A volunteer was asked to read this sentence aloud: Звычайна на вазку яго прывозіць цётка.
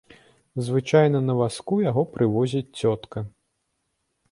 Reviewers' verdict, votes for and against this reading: accepted, 3, 0